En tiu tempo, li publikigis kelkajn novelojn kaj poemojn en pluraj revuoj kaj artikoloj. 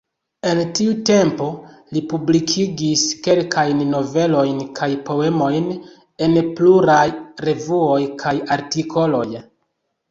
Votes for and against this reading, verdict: 3, 1, accepted